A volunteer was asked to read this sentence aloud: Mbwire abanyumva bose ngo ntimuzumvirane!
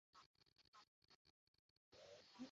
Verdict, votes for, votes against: rejected, 0, 2